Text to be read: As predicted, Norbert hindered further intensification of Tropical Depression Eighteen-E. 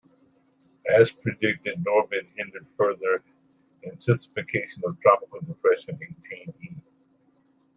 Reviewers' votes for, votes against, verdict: 1, 2, rejected